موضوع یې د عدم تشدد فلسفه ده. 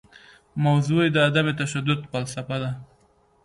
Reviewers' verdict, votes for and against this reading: accepted, 2, 0